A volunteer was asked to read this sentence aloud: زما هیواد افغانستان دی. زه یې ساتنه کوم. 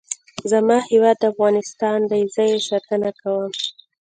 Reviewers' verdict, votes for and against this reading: accepted, 2, 1